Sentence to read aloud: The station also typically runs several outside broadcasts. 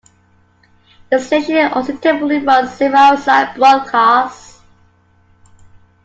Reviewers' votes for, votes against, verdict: 2, 1, accepted